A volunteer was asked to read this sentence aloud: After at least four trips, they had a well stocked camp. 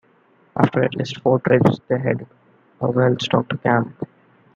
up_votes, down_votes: 2, 1